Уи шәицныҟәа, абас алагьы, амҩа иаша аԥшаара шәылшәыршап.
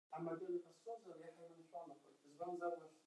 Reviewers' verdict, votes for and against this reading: rejected, 0, 2